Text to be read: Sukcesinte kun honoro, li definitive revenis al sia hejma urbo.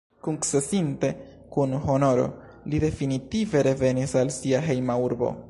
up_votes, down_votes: 0, 2